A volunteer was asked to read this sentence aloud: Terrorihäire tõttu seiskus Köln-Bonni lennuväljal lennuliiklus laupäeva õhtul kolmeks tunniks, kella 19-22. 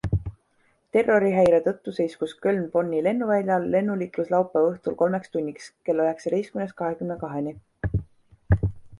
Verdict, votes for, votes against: rejected, 0, 2